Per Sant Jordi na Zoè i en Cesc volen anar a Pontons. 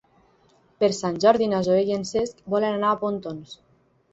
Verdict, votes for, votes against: accepted, 9, 0